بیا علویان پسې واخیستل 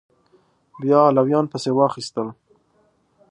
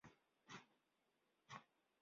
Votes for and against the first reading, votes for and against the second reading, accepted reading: 5, 0, 0, 2, first